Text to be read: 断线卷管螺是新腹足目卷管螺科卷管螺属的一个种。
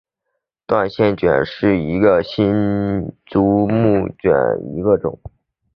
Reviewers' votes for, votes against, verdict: 0, 2, rejected